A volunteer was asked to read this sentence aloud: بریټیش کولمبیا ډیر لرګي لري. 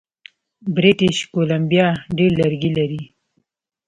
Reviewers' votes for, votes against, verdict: 2, 0, accepted